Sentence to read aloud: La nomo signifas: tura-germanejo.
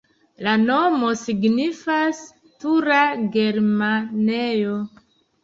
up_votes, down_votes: 2, 0